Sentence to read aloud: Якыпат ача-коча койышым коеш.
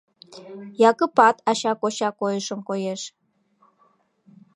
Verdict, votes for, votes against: accepted, 2, 0